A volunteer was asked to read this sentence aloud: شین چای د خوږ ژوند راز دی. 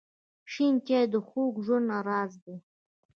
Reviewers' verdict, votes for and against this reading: rejected, 1, 2